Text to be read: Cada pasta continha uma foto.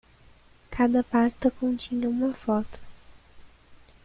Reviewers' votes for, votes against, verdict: 1, 2, rejected